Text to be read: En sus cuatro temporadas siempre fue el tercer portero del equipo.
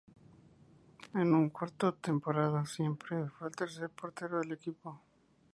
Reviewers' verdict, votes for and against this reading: rejected, 0, 4